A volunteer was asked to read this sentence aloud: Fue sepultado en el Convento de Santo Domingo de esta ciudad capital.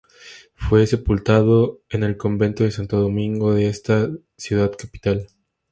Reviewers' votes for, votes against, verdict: 2, 0, accepted